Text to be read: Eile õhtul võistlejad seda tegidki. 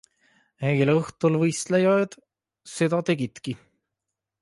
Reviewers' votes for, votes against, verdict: 3, 0, accepted